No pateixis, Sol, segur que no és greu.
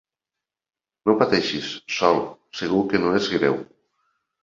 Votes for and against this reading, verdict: 3, 0, accepted